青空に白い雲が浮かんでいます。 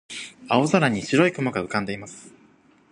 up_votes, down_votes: 2, 0